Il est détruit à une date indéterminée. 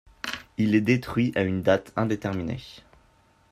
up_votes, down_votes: 2, 0